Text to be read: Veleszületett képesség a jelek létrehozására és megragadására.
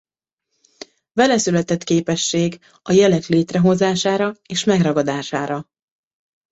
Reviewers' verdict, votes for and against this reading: accepted, 2, 0